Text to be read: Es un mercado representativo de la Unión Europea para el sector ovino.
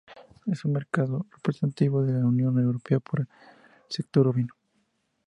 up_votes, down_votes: 2, 0